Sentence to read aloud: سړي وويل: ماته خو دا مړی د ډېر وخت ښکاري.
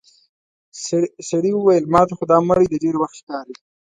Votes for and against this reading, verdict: 2, 1, accepted